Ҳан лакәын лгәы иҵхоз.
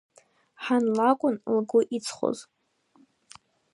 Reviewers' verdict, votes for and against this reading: accepted, 2, 0